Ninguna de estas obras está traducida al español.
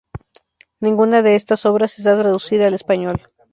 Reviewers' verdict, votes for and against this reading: accepted, 2, 0